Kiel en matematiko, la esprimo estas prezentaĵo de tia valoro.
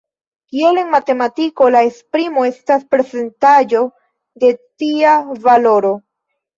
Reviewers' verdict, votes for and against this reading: rejected, 1, 3